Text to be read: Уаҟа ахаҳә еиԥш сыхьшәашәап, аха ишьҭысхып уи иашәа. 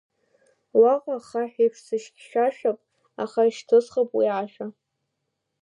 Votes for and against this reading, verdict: 1, 2, rejected